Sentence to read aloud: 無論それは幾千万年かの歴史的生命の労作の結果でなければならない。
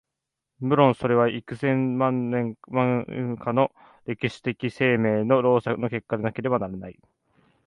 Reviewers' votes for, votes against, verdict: 1, 2, rejected